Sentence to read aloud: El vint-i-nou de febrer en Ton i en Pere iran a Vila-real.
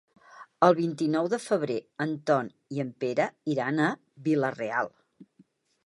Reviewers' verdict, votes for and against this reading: accepted, 3, 0